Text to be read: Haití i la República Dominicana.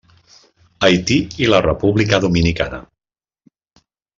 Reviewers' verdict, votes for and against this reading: accepted, 3, 0